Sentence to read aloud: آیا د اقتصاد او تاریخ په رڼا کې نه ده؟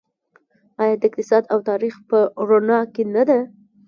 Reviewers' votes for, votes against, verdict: 2, 1, accepted